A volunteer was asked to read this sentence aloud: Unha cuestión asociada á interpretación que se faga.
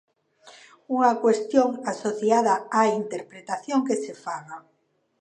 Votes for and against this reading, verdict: 2, 0, accepted